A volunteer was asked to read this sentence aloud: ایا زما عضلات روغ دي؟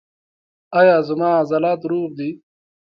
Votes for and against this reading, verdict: 2, 0, accepted